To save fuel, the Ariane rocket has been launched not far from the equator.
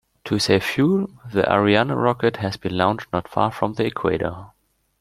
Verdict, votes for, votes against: accepted, 2, 1